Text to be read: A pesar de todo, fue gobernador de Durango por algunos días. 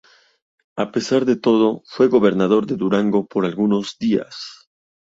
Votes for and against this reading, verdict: 2, 0, accepted